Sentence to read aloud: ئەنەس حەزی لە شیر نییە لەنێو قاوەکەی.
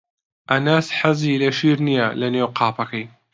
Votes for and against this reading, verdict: 0, 2, rejected